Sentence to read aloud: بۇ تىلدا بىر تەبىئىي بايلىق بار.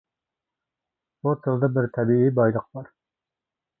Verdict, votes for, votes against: accepted, 2, 0